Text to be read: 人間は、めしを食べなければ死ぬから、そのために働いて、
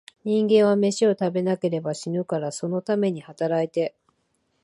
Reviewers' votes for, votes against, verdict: 1, 2, rejected